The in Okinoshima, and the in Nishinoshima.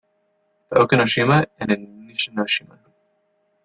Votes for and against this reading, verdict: 1, 2, rejected